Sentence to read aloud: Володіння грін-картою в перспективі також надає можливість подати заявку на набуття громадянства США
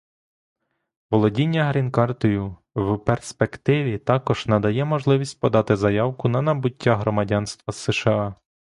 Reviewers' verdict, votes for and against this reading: accepted, 2, 0